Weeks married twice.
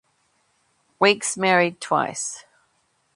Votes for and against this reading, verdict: 2, 0, accepted